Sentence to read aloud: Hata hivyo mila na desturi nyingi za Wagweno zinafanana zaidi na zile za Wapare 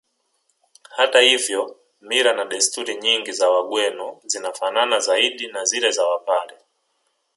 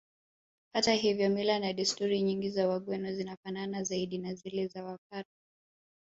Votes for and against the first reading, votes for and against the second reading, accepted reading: 2, 1, 0, 2, first